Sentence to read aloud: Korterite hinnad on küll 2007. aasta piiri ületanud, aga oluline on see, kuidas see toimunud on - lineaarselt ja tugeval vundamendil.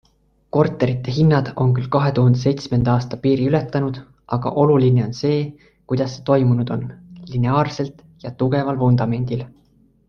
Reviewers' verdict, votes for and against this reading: rejected, 0, 2